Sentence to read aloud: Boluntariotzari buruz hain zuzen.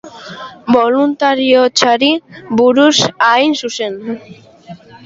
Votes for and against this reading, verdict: 2, 0, accepted